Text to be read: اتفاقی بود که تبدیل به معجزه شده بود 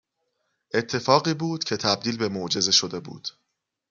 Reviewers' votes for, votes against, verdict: 2, 0, accepted